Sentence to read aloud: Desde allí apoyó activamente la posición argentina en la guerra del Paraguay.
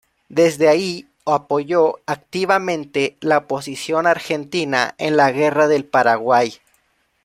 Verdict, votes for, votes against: rejected, 1, 2